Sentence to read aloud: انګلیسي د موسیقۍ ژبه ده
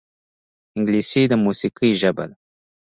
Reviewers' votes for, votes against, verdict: 2, 1, accepted